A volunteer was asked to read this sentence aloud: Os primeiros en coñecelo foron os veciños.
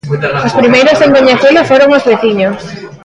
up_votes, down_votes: 0, 2